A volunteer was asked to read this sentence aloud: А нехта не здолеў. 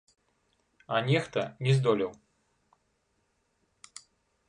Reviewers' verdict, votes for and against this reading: rejected, 0, 2